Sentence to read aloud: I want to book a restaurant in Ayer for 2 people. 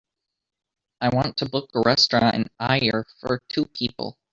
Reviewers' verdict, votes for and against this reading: rejected, 0, 2